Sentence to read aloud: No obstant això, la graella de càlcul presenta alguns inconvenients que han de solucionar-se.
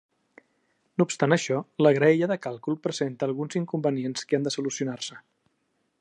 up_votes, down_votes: 2, 0